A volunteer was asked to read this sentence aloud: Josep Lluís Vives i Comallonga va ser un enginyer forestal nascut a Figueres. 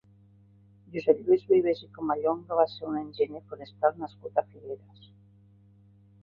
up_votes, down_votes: 2, 1